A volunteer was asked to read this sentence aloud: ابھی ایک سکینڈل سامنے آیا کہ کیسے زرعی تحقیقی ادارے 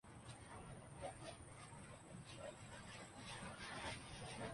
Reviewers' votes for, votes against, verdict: 0, 2, rejected